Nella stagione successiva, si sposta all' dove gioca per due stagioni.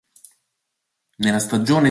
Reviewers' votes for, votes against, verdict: 0, 2, rejected